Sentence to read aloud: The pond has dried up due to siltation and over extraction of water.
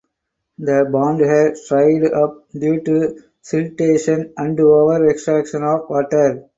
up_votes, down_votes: 4, 2